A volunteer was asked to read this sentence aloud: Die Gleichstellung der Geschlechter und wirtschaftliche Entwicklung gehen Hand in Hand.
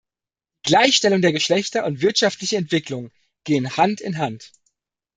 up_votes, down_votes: 1, 2